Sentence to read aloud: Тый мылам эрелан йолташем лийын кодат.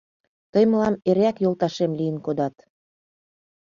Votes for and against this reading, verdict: 1, 2, rejected